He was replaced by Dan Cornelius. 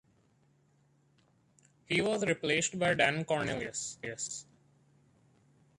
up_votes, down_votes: 0, 2